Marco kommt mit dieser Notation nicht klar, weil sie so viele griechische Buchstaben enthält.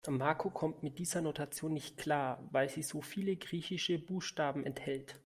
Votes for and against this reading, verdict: 2, 0, accepted